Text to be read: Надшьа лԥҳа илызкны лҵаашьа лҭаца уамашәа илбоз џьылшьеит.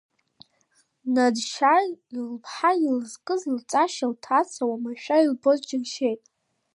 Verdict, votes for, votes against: rejected, 1, 2